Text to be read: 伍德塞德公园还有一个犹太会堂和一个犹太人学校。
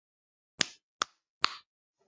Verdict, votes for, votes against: rejected, 0, 4